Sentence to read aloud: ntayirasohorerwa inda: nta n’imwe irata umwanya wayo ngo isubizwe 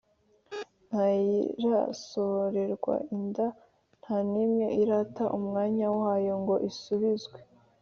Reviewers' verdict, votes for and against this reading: accepted, 2, 0